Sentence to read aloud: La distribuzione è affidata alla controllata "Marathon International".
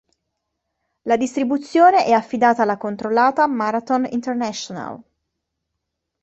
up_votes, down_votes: 2, 1